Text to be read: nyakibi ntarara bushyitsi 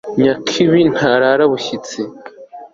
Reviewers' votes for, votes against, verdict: 2, 0, accepted